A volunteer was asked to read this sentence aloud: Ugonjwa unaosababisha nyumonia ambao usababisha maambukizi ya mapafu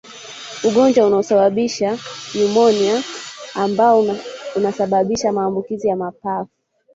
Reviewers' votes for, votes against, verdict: 0, 2, rejected